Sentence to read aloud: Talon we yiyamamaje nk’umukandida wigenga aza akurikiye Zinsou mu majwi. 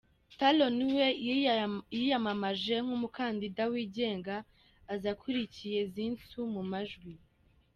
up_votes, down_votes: 2, 1